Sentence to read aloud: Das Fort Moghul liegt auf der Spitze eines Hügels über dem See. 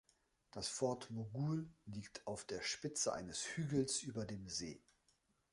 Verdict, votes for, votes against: accepted, 2, 0